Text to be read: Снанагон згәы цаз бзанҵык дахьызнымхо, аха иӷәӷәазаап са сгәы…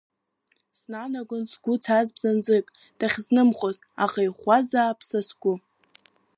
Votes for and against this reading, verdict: 3, 0, accepted